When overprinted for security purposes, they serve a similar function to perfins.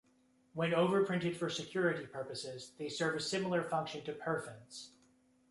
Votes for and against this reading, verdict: 2, 0, accepted